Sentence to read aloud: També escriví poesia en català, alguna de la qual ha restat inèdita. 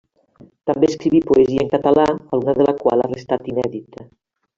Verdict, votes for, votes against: accepted, 2, 1